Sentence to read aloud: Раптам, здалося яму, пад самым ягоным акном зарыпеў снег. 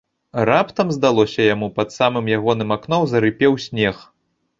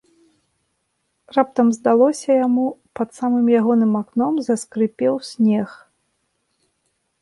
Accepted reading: first